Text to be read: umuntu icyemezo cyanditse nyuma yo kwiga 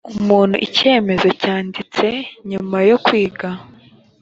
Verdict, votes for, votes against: accepted, 2, 1